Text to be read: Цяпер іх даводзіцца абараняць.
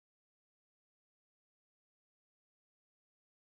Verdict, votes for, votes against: rejected, 0, 2